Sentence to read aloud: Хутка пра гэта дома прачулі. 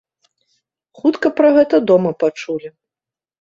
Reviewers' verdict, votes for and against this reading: rejected, 1, 2